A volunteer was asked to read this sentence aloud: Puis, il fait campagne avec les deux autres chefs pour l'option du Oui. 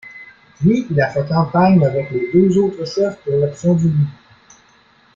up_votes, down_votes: 0, 2